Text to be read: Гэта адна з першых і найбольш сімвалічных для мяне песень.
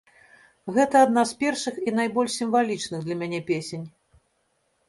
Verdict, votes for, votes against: accepted, 2, 0